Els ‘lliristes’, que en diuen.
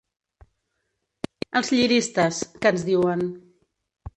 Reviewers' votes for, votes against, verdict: 0, 2, rejected